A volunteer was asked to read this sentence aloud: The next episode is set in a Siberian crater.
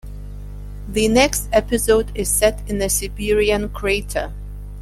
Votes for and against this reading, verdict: 2, 0, accepted